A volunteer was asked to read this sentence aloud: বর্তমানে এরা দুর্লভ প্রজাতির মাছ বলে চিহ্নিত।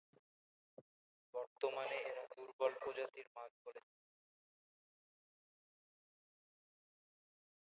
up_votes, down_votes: 1, 3